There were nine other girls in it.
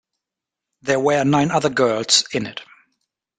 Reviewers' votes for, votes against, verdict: 2, 0, accepted